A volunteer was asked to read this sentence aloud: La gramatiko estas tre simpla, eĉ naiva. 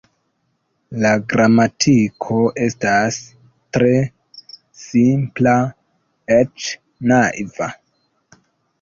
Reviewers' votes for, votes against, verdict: 1, 2, rejected